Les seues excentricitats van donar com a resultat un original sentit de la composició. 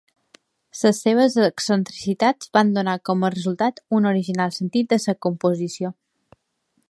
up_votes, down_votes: 0, 2